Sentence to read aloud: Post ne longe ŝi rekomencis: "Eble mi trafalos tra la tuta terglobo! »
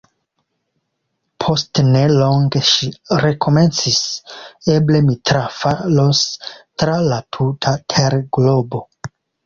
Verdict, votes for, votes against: rejected, 1, 2